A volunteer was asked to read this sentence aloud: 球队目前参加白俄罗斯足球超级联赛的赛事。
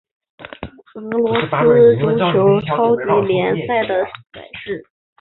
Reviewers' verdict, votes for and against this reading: rejected, 1, 2